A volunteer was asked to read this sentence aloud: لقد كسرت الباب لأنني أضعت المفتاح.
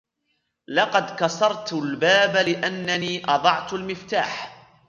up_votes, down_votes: 2, 0